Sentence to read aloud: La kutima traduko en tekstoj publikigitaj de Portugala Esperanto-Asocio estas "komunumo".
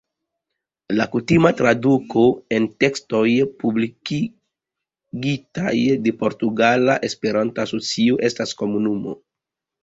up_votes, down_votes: 0, 2